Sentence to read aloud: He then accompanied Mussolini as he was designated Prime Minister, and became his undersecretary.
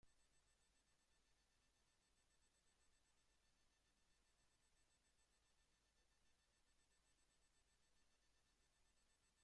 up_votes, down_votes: 0, 2